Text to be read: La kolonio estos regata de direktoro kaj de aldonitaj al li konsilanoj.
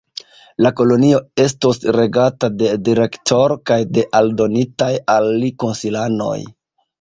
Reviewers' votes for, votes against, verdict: 1, 2, rejected